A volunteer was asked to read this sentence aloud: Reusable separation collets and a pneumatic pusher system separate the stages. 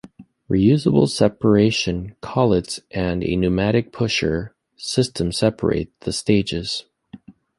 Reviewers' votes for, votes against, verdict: 2, 0, accepted